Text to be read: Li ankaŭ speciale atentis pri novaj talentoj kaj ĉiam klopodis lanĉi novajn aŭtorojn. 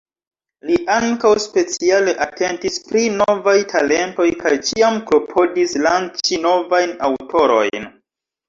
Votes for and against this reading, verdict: 2, 0, accepted